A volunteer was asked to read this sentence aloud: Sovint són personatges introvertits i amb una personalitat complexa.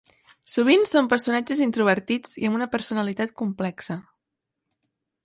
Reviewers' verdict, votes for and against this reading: accepted, 3, 0